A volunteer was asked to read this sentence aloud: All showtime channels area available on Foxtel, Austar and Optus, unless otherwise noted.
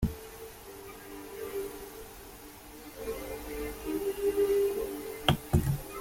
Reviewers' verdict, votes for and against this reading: rejected, 0, 2